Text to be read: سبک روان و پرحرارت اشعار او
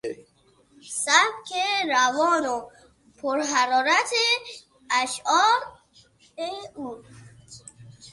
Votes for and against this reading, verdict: 3, 6, rejected